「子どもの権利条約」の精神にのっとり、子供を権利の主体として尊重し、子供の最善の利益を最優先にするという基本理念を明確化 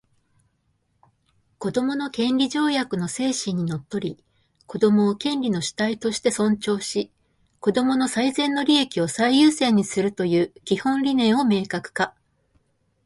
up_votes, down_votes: 2, 0